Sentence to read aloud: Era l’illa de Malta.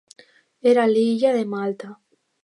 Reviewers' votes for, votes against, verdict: 2, 0, accepted